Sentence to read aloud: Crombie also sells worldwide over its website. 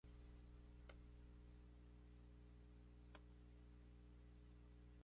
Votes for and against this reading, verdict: 0, 2, rejected